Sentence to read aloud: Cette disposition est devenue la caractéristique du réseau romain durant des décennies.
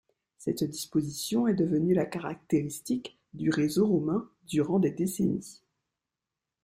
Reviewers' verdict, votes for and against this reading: rejected, 1, 2